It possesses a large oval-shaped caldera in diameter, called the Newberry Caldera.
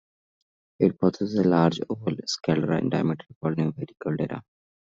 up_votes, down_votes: 0, 2